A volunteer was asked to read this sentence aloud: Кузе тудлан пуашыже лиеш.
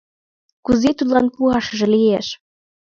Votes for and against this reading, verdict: 2, 0, accepted